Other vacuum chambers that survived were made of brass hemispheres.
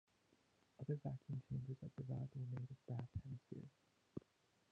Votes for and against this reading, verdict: 1, 2, rejected